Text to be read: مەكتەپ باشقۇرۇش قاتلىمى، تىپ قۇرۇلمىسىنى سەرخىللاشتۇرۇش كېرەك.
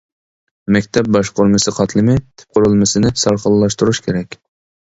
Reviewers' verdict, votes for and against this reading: rejected, 0, 2